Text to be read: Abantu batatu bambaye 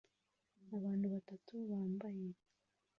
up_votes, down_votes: 0, 2